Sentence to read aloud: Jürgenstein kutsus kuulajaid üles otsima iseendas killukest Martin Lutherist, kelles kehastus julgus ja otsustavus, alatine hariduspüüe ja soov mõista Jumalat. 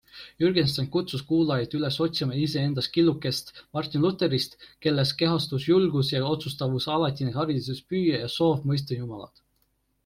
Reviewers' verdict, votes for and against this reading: accepted, 2, 1